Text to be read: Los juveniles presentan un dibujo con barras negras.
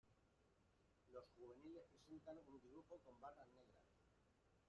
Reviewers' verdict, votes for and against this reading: rejected, 0, 2